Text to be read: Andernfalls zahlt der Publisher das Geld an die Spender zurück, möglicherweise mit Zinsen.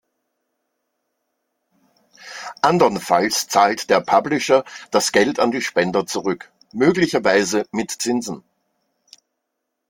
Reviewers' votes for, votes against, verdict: 2, 0, accepted